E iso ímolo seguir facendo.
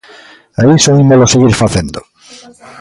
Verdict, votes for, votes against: accepted, 2, 0